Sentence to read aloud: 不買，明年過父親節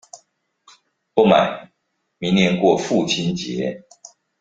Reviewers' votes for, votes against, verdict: 2, 0, accepted